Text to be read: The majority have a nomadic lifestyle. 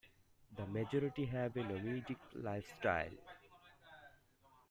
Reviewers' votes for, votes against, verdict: 2, 0, accepted